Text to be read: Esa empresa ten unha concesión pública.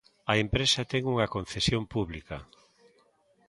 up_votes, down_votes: 1, 3